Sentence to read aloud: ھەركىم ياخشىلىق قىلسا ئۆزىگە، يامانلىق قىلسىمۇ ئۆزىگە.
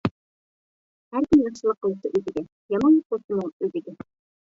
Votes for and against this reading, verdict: 0, 2, rejected